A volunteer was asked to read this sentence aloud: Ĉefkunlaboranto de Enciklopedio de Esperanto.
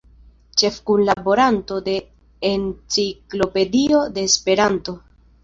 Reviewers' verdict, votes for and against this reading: accepted, 2, 0